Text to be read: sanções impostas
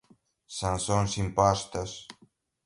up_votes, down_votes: 2, 1